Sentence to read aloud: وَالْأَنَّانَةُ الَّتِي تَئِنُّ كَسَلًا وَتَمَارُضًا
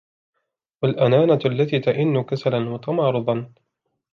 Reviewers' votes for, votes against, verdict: 1, 2, rejected